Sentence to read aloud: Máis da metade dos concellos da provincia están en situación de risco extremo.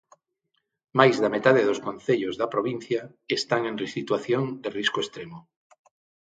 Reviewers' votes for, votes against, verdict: 0, 6, rejected